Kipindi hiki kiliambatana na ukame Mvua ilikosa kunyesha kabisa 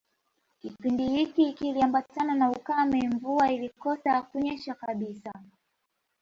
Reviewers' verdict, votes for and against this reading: accepted, 2, 0